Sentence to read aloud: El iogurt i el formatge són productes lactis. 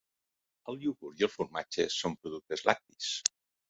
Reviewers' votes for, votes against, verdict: 2, 0, accepted